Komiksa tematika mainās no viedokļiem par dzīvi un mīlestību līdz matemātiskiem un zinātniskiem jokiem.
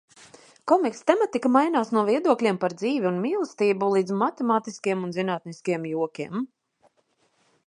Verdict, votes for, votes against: accepted, 2, 0